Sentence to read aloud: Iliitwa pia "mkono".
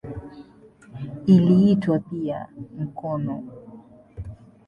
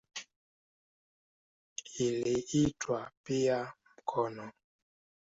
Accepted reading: first